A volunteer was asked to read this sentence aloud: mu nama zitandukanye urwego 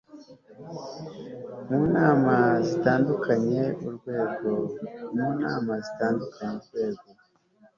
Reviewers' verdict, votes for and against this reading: accepted, 2, 1